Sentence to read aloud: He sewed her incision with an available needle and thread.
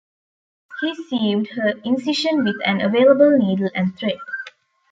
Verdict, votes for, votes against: rejected, 1, 2